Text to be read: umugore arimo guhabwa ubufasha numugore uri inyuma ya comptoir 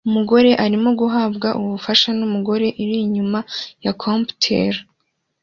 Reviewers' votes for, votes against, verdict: 2, 0, accepted